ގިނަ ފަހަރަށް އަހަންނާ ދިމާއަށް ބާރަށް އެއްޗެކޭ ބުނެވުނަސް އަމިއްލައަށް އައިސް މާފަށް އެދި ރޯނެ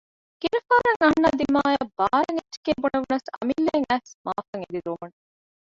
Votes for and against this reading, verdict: 0, 2, rejected